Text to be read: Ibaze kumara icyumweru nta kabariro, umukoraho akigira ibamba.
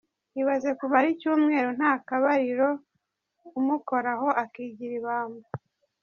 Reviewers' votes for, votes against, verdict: 2, 0, accepted